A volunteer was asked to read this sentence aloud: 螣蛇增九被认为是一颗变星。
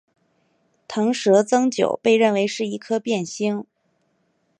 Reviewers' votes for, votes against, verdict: 3, 1, accepted